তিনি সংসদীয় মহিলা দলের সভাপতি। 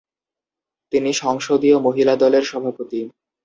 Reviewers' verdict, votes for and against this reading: accepted, 2, 0